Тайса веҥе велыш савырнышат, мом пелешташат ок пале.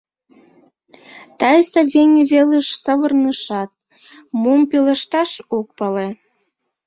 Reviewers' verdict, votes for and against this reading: rejected, 1, 2